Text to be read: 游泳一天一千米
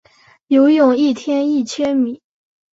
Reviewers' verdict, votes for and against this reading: accepted, 3, 1